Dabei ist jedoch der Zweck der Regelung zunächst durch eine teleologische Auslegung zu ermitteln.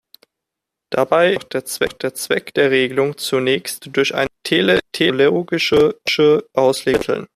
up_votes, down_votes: 0, 2